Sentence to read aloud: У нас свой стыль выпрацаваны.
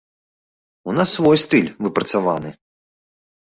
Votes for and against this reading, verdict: 2, 0, accepted